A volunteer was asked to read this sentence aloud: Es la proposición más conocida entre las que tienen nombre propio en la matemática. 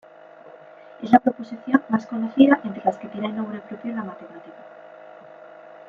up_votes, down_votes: 1, 2